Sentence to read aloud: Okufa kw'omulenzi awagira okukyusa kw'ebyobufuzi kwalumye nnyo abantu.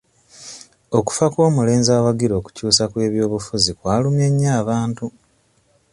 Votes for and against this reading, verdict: 2, 0, accepted